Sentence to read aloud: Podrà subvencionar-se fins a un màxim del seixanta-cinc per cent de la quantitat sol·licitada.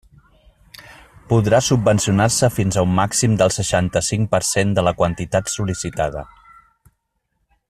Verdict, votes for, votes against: accepted, 3, 0